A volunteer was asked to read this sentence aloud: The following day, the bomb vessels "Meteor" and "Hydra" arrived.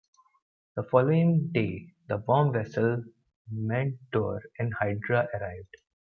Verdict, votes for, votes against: rejected, 1, 2